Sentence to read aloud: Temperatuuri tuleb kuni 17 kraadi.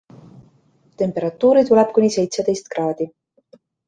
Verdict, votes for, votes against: rejected, 0, 2